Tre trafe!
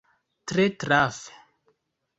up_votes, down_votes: 2, 0